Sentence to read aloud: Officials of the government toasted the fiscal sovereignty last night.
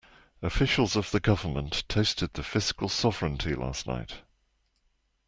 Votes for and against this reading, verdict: 2, 0, accepted